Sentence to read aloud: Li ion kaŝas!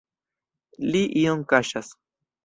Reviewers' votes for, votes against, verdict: 2, 0, accepted